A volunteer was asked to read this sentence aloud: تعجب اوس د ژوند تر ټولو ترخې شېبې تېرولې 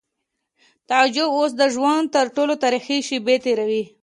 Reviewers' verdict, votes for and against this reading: accepted, 3, 0